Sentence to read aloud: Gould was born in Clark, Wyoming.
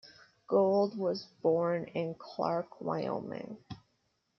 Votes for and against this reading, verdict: 1, 2, rejected